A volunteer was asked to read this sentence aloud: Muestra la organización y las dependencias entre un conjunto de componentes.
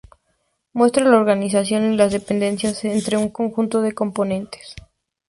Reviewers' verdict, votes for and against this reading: accepted, 2, 0